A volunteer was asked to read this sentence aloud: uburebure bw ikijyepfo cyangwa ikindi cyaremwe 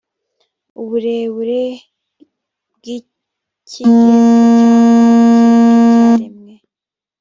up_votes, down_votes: 0, 2